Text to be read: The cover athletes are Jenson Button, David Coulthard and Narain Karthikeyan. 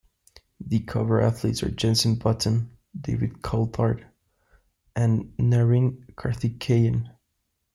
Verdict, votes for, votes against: accepted, 2, 0